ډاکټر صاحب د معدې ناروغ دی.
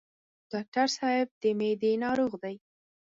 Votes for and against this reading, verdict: 2, 4, rejected